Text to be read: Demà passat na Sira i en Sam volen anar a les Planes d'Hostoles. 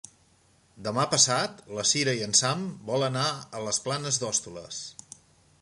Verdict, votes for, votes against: rejected, 2, 3